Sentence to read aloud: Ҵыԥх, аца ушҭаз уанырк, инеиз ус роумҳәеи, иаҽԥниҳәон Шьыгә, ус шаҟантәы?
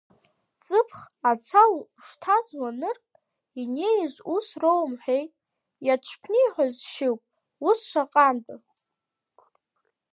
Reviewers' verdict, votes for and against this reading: accepted, 2, 0